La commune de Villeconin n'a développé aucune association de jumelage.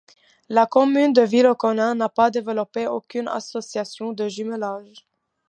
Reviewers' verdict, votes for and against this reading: rejected, 1, 2